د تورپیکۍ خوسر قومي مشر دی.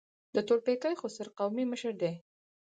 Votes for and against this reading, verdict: 4, 0, accepted